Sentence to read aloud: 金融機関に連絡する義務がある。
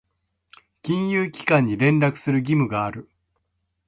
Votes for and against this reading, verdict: 1, 2, rejected